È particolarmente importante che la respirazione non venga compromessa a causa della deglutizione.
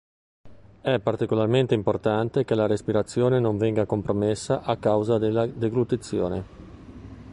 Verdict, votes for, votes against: accepted, 2, 0